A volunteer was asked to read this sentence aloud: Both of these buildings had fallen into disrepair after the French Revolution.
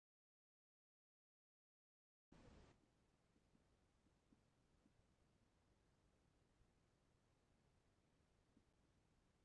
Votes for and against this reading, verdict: 0, 2, rejected